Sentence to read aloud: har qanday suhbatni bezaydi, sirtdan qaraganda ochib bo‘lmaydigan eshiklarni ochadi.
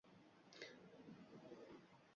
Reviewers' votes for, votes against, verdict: 0, 2, rejected